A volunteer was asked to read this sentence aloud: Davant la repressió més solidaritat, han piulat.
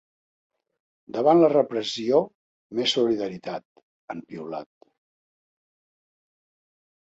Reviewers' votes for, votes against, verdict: 3, 0, accepted